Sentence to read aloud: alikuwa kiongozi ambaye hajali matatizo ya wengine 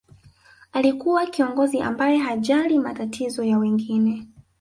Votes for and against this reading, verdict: 1, 2, rejected